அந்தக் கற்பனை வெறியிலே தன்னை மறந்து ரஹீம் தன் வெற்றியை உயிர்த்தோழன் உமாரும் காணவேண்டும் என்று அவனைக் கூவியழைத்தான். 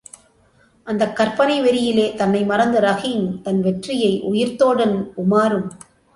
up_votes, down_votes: 1, 2